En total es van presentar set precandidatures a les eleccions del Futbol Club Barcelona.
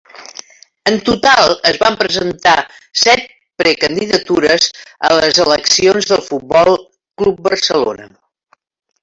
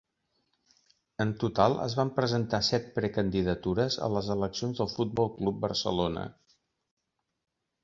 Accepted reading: second